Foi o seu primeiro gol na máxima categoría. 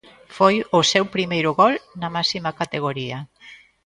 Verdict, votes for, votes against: accepted, 2, 0